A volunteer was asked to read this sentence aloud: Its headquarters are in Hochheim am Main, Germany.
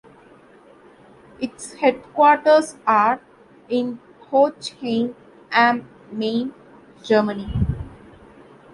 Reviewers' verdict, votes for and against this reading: rejected, 1, 2